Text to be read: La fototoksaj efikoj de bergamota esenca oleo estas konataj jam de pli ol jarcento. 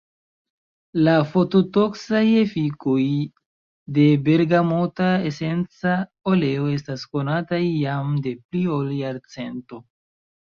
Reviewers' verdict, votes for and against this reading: rejected, 1, 2